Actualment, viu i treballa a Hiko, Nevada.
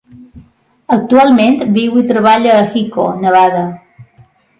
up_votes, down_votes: 2, 0